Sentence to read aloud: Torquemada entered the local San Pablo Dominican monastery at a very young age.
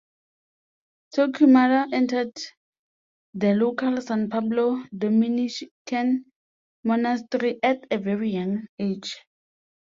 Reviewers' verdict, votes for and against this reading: rejected, 0, 2